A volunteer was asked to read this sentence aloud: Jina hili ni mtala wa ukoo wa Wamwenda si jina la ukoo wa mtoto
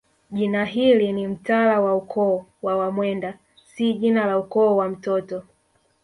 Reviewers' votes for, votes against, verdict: 1, 2, rejected